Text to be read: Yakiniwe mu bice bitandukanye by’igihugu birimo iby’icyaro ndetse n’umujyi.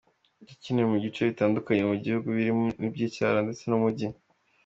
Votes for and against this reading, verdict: 2, 1, accepted